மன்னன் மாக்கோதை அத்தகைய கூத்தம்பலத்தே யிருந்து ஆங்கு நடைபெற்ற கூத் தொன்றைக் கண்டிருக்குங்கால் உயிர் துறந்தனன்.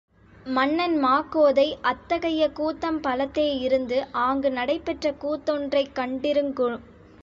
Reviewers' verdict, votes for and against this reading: rejected, 1, 3